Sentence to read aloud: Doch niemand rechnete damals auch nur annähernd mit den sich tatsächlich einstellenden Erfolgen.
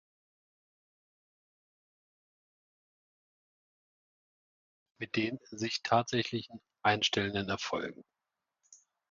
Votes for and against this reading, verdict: 0, 2, rejected